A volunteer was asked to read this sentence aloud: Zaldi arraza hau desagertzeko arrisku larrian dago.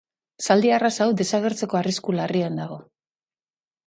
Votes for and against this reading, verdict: 2, 0, accepted